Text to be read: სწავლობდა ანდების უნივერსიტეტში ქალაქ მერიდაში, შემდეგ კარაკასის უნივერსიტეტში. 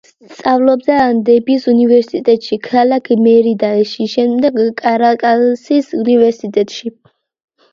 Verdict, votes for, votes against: accepted, 2, 1